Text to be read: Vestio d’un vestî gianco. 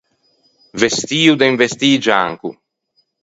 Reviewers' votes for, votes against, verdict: 2, 4, rejected